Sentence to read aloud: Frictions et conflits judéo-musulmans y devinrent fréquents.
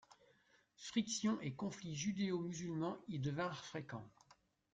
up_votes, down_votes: 0, 2